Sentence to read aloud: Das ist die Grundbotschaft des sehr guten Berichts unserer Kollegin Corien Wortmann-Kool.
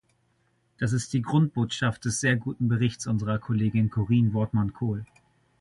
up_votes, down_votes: 2, 0